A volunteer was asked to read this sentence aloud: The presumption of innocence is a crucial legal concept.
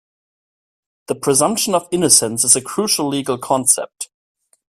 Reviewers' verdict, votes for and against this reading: accepted, 2, 0